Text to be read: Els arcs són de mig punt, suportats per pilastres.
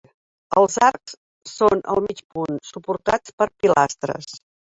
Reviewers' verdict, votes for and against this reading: rejected, 0, 2